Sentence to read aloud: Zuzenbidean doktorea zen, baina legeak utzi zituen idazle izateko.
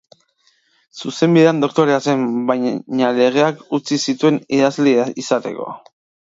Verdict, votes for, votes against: rejected, 0, 2